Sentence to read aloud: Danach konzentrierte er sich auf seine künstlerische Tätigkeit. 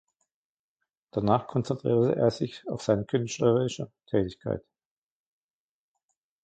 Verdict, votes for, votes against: rejected, 0, 2